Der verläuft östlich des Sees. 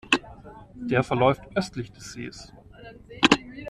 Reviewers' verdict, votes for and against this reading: accepted, 2, 0